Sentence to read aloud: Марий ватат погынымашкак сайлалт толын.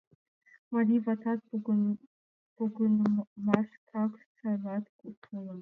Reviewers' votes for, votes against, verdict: 0, 2, rejected